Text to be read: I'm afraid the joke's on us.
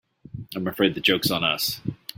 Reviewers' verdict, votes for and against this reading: accepted, 3, 0